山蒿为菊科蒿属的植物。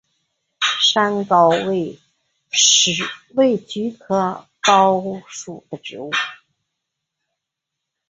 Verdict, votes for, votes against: rejected, 1, 2